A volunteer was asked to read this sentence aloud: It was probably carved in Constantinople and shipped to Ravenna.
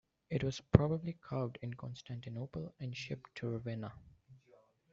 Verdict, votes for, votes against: rejected, 1, 2